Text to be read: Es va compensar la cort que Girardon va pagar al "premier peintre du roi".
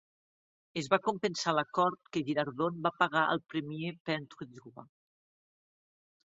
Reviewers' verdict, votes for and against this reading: rejected, 1, 2